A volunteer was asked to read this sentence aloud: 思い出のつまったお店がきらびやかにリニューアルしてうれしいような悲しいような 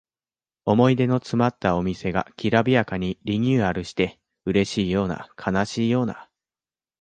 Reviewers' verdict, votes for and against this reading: rejected, 1, 2